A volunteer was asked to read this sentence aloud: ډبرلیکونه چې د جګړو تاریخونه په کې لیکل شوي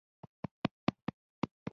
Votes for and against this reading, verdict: 1, 2, rejected